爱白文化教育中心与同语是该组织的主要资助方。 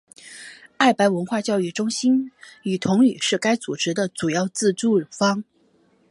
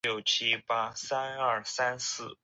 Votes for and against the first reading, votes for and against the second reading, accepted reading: 4, 0, 2, 4, first